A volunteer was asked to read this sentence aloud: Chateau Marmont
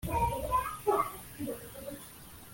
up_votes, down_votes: 0, 2